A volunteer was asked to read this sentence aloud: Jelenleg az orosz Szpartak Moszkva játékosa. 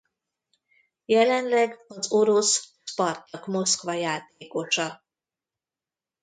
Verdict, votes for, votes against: rejected, 1, 2